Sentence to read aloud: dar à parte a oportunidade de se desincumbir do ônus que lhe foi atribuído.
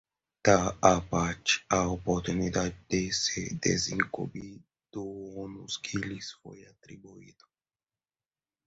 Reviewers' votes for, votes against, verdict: 0, 2, rejected